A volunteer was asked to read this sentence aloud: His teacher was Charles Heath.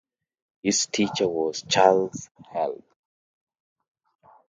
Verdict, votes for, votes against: rejected, 0, 2